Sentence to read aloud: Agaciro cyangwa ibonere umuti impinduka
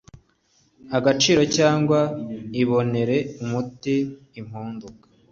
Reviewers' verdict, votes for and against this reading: rejected, 1, 2